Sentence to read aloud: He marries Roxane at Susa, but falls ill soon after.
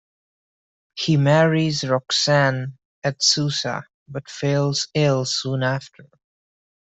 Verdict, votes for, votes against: accepted, 2, 1